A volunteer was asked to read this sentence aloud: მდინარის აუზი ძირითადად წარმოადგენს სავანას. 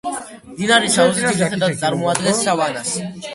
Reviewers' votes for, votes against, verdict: 1, 2, rejected